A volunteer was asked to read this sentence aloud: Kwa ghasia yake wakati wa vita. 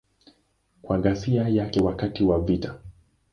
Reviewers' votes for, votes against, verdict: 2, 0, accepted